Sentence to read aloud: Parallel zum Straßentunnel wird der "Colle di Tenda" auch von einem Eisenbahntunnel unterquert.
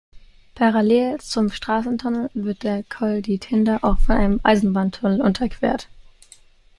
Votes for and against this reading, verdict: 2, 0, accepted